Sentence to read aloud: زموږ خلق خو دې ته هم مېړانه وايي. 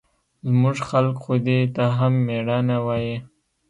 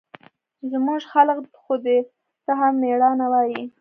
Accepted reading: first